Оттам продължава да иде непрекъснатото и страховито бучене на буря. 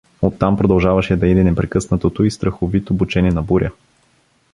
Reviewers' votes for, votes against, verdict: 1, 2, rejected